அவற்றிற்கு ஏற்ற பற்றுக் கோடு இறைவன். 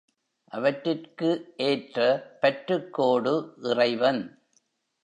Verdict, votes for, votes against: rejected, 1, 2